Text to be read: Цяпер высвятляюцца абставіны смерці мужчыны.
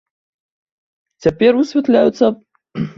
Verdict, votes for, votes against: rejected, 1, 2